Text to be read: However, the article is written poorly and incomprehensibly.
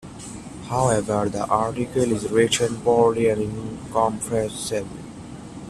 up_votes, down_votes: 0, 3